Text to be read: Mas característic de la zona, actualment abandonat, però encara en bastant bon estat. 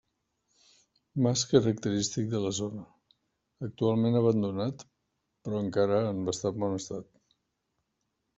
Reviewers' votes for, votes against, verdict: 0, 2, rejected